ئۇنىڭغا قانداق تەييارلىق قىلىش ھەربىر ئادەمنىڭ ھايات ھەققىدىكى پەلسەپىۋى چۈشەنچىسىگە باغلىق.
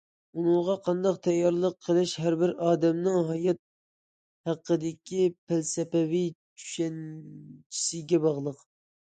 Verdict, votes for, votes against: accepted, 2, 0